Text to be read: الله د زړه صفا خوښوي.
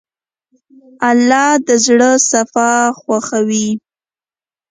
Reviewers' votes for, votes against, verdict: 2, 0, accepted